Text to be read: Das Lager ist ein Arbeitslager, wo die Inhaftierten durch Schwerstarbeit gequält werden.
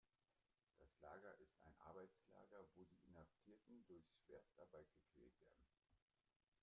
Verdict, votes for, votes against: rejected, 0, 2